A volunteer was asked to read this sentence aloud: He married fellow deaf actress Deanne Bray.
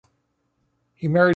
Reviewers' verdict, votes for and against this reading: rejected, 0, 2